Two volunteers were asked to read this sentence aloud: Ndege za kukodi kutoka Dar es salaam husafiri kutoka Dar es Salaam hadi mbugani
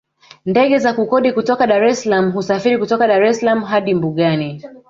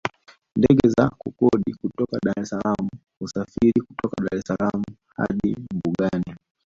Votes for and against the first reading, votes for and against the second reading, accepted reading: 2, 0, 0, 2, first